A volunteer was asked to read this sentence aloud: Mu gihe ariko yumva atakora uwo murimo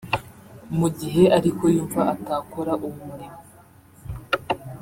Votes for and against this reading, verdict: 0, 2, rejected